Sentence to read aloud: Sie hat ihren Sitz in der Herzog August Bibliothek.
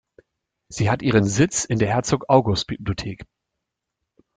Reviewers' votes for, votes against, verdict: 2, 0, accepted